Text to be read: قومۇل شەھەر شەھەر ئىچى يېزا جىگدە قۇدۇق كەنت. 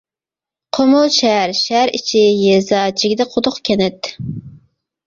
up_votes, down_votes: 2, 0